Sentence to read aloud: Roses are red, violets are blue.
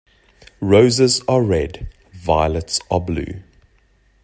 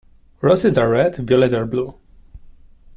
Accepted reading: first